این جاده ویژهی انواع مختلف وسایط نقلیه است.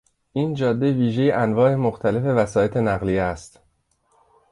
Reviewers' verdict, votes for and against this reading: accepted, 2, 0